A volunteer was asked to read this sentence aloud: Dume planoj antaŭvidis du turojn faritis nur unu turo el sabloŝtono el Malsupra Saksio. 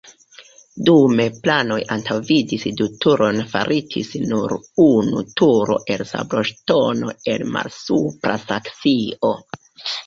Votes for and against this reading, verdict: 0, 2, rejected